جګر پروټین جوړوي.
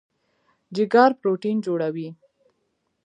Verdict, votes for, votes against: accepted, 2, 0